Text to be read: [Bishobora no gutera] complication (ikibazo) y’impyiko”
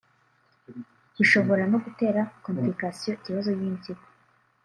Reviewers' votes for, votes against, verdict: 2, 0, accepted